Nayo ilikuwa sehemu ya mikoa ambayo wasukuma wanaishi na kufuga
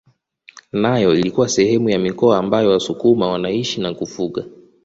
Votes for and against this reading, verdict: 2, 0, accepted